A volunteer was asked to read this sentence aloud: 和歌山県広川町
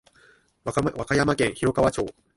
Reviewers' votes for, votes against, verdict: 2, 3, rejected